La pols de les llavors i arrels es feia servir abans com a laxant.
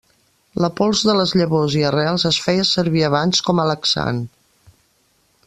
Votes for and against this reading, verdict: 2, 0, accepted